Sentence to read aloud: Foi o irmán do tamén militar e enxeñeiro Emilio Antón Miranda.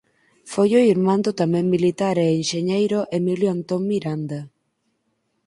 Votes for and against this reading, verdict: 4, 2, accepted